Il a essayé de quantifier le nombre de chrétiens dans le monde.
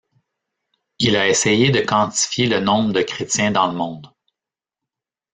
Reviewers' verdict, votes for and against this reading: rejected, 1, 2